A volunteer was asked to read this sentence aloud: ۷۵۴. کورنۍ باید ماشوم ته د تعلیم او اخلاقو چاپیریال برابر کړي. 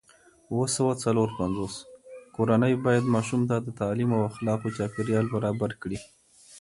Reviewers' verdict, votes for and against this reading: rejected, 0, 2